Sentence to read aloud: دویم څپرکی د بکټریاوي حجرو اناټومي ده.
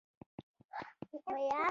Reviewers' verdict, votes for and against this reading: rejected, 1, 2